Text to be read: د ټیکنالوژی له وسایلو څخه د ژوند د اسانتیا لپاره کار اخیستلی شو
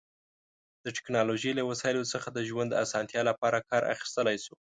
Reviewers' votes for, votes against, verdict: 2, 0, accepted